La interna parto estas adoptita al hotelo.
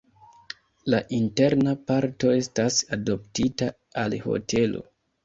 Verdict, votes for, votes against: rejected, 1, 2